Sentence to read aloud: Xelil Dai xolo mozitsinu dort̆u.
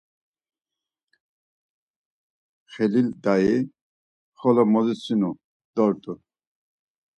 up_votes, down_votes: 4, 0